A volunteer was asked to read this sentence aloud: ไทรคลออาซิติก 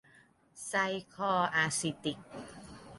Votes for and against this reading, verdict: 0, 2, rejected